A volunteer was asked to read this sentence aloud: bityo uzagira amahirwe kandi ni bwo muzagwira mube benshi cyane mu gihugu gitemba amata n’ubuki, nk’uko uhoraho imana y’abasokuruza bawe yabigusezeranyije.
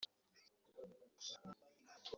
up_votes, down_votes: 0, 3